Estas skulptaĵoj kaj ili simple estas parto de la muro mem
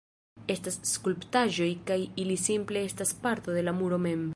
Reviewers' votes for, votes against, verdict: 1, 2, rejected